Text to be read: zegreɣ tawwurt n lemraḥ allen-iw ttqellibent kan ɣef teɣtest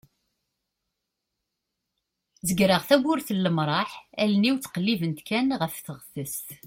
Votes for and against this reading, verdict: 2, 0, accepted